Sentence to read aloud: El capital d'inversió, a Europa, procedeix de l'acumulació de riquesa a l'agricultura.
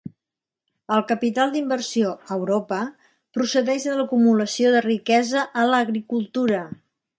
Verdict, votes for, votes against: accepted, 3, 0